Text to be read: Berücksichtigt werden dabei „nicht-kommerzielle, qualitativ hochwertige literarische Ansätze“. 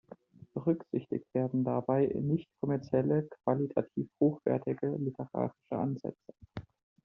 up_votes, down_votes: 2, 0